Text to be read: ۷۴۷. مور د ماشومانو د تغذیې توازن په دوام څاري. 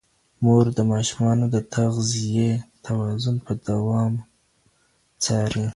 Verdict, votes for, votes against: rejected, 0, 2